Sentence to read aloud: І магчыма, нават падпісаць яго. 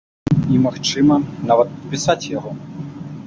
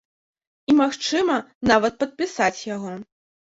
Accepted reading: second